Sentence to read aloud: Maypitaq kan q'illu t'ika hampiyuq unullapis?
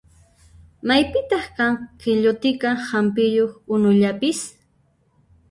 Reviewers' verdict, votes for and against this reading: rejected, 0, 2